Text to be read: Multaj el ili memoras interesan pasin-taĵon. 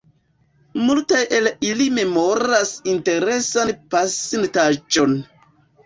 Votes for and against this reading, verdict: 0, 2, rejected